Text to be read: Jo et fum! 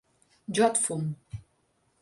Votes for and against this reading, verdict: 2, 0, accepted